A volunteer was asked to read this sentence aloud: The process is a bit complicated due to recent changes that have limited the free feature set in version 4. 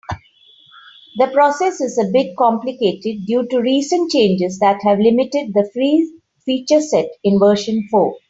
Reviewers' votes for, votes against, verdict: 0, 2, rejected